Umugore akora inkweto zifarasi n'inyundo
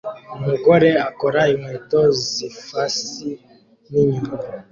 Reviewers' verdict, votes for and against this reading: rejected, 1, 2